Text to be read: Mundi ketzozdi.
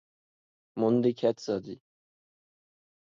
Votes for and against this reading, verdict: 0, 4, rejected